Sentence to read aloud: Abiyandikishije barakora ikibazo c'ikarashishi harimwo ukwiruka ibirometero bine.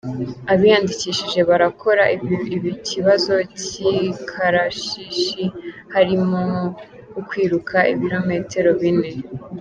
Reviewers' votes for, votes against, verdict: 0, 2, rejected